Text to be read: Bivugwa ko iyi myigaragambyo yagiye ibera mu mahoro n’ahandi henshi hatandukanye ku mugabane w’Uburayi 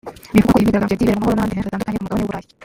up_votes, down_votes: 0, 2